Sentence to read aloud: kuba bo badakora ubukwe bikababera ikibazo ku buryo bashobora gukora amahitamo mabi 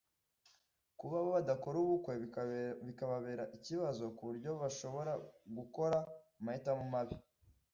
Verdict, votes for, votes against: rejected, 0, 2